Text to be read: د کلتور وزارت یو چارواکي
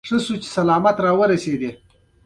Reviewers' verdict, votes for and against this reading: rejected, 0, 2